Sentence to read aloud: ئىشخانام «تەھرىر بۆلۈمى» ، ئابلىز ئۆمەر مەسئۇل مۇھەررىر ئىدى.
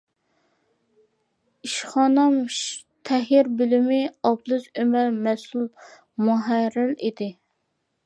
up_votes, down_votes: 0, 2